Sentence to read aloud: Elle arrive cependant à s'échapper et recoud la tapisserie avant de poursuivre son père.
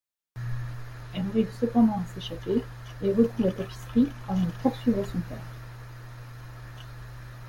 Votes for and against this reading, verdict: 1, 2, rejected